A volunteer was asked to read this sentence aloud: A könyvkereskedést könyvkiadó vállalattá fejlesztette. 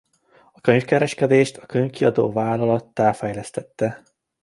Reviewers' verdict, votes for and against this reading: accepted, 2, 1